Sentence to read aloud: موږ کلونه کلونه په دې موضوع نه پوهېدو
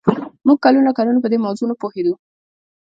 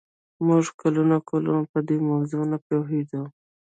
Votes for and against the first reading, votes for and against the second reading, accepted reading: 2, 0, 0, 2, first